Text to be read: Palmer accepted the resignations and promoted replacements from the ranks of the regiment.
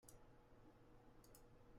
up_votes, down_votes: 0, 2